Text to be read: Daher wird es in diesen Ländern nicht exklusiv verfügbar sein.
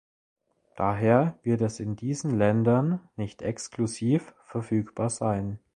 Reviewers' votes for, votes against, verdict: 2, 0, accepted